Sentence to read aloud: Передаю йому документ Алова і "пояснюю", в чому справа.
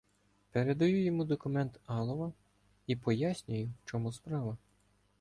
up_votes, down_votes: 2, 0